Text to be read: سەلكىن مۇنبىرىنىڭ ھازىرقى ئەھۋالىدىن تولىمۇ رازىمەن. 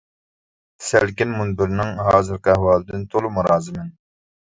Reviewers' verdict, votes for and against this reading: accepted, 2, 0